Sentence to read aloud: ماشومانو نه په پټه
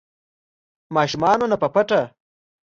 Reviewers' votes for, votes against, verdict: 2, 0, accepted